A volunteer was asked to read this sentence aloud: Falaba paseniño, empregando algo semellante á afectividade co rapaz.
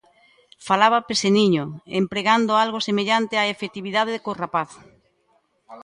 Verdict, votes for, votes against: rejected, 1, 2